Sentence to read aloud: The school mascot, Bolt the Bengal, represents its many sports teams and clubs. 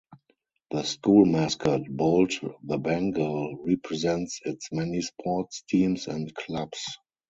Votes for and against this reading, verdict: 0, 2, rejected